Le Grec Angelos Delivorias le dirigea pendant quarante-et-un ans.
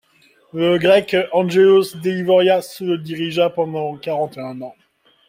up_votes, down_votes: 2, 0